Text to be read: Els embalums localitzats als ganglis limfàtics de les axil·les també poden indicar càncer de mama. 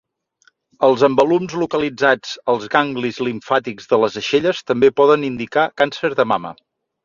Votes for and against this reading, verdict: 0, 2, rejected